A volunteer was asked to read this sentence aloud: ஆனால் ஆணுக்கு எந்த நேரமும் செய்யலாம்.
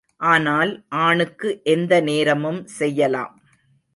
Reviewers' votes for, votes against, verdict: 2, 0, accepted